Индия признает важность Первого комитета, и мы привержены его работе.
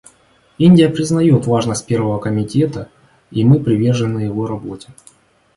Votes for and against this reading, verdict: 2, 0, accepted